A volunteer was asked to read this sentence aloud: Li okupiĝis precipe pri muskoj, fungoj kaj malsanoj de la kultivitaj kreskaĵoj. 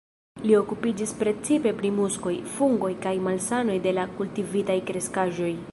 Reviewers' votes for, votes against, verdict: 0, 2, rejected